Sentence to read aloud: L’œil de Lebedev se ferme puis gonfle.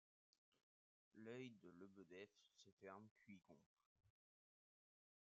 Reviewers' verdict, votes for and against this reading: rejected, 0, 2